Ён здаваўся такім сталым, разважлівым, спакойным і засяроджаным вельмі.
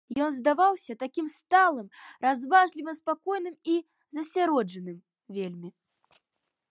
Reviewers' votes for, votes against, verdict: 2, 0, accepted